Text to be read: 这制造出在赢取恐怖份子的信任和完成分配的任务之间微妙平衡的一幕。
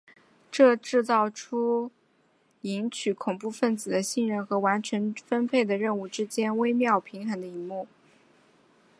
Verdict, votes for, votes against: accepted, 2, 0